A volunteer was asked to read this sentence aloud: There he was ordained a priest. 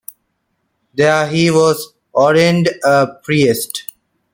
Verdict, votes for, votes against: accepted, 2, 0